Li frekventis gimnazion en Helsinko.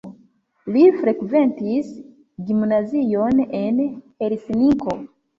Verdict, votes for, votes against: accepted, 2, 0